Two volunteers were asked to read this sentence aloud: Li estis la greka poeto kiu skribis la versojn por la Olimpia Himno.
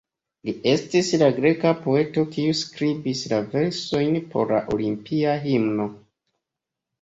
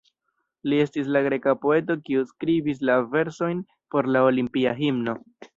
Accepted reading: first